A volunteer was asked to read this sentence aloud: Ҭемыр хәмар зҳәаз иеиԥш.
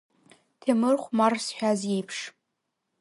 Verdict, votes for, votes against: accepted, 2, 0